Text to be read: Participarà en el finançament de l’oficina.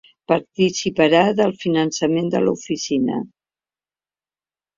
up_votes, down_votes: 1, 2